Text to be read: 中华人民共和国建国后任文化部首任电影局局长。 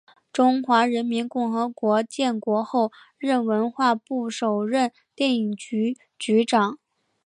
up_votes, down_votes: 2, 0